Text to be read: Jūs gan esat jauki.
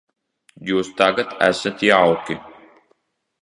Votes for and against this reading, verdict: 0, 2, rejected